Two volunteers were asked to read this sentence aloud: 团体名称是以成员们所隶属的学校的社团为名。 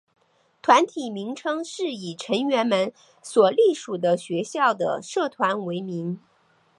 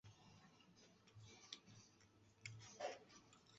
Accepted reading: first